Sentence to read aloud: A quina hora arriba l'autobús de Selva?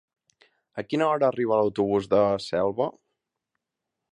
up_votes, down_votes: 3, 0